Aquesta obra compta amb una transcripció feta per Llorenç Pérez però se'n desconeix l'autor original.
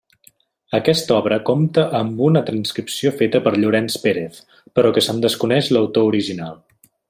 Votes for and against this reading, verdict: 0, 2, rejected